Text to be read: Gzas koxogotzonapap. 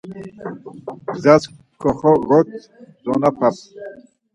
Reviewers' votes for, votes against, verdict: 0, 4, rejected